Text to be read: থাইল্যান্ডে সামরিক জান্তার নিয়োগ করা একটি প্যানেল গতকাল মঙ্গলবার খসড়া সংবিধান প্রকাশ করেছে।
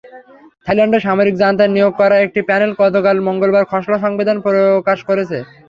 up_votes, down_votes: 3, 0